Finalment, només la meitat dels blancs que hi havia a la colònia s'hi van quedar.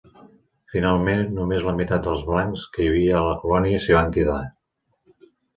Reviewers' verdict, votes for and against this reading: accepted, 3, 0